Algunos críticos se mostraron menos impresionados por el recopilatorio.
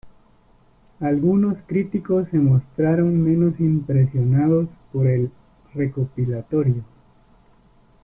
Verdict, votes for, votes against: rejected, 1, 2